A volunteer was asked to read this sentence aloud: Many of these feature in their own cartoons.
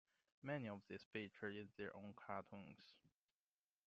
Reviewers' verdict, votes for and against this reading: accepted, 2, 0